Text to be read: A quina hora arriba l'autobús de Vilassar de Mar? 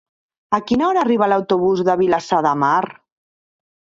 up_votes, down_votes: 3, 0